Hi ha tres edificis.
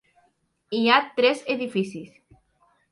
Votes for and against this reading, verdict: 2, 0, accepted